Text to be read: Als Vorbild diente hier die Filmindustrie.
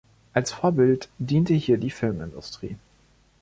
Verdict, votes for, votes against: rejected, 1, 2